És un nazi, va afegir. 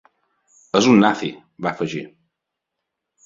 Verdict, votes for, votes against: accepted, 3, 0